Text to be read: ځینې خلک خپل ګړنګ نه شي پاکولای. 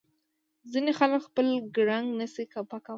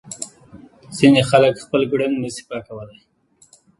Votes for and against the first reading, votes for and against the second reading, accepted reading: 2, 1, 1, 2, first